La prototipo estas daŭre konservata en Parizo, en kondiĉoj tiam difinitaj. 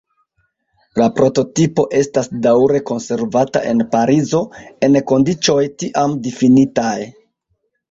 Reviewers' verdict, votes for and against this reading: rejected, 1, 2